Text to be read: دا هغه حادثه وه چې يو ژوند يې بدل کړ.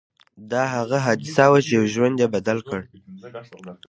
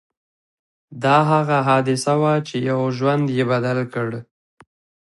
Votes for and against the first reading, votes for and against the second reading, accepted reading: 0, 2, 2, 0, second